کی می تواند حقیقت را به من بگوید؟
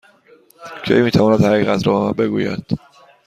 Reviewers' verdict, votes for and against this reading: accepted, 2, 0